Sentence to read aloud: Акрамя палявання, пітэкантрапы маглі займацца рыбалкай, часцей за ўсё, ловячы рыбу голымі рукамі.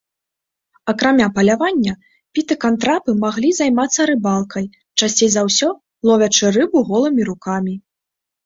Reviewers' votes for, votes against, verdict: 0, 2, rejected